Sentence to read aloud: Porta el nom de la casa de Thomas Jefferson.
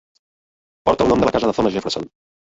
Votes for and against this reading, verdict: 0, 2, rejected